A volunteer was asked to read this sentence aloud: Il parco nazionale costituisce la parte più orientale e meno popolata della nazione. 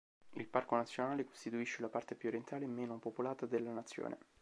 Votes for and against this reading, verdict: 2, 0, accepted